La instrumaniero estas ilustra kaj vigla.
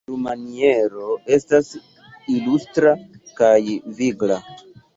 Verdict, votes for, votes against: rejected, 0, 2